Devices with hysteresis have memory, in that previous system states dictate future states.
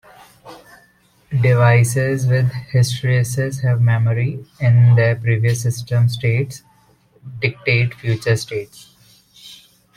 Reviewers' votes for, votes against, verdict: 2, 0, accepted